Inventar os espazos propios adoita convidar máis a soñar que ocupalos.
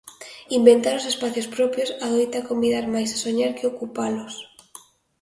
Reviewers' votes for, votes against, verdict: 0, 2, rejected